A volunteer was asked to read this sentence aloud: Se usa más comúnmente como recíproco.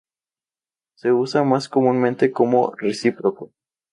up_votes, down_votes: 2, 0